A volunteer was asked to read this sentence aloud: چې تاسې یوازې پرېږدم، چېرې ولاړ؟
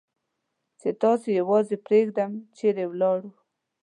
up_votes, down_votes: 2, 0